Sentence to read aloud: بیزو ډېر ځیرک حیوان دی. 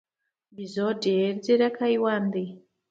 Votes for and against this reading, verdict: 2, 1, accepted